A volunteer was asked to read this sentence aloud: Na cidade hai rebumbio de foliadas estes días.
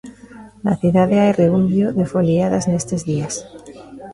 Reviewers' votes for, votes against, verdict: 0, 2, rejected